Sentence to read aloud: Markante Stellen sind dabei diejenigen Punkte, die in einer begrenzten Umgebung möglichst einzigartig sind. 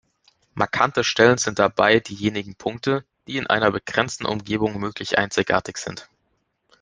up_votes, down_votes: 0, 2